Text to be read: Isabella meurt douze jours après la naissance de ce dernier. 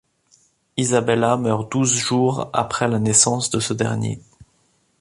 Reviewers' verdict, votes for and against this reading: accepted, 2, 1